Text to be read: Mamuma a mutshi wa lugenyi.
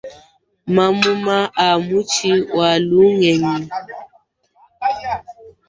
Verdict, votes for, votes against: rejected, 0, 2